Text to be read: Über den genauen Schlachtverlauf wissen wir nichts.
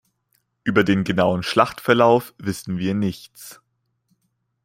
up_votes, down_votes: 2, 0